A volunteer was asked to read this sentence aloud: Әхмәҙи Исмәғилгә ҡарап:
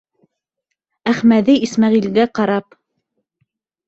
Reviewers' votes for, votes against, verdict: 2, 0, accepted